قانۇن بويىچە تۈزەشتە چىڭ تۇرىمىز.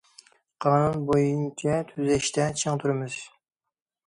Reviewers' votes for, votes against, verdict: 0, 2, rejected